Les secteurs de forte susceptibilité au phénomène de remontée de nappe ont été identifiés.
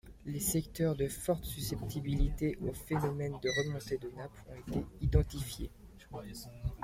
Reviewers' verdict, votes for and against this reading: accepted, 2, 1